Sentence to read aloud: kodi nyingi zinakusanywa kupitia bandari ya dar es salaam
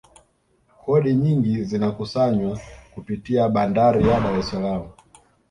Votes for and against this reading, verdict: 2, 0, accepted